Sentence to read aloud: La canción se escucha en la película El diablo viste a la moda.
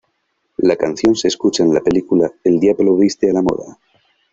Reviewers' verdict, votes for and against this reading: accepted, 2, 0